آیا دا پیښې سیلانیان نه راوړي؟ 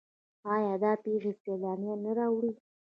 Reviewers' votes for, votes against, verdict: 0, 2, rejected